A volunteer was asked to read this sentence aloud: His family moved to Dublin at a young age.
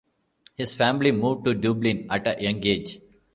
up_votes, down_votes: 2, 1